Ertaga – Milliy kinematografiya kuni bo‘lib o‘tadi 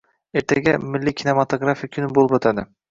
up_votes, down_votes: 1, 2